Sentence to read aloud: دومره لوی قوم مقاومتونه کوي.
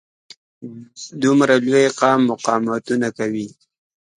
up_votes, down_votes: 2, 0